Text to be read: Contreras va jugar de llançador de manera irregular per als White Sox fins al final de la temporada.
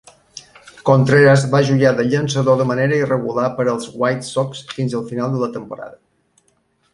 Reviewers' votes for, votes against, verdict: 1, 2, rejected